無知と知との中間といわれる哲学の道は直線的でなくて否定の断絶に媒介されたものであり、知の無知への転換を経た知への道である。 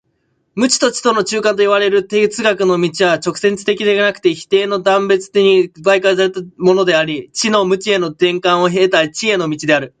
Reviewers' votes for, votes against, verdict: 0, 2, rejected